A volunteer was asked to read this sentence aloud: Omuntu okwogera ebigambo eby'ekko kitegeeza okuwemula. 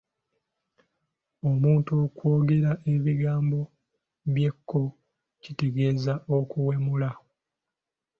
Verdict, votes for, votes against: accepted, 2, 0